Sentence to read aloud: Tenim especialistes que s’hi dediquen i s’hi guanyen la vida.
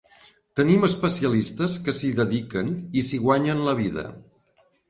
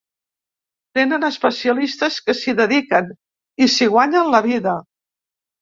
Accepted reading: first